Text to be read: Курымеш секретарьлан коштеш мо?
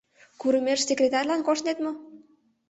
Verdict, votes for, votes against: rejected, 1, 2